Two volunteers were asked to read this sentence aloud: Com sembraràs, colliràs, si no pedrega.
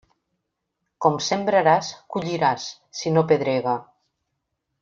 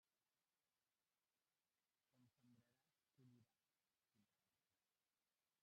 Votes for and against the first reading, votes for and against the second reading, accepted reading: 3, 0, 0, 2, first